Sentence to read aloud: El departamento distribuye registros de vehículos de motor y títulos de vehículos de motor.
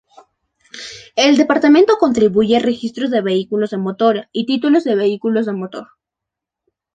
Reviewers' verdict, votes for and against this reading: rejected, 0, 2